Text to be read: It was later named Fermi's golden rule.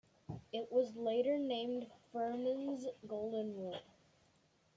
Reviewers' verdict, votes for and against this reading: rejected, 0, 2